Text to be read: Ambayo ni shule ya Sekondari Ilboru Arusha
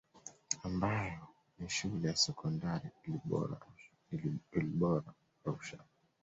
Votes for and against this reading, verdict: 1, 2, rejected